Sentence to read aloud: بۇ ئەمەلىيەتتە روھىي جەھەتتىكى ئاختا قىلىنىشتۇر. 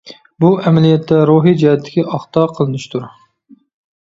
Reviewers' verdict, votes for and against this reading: accepted, 2, 0